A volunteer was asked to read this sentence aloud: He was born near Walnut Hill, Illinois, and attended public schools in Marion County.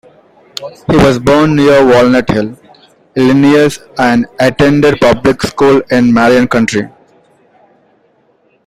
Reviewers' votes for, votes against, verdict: 2, 1, accepted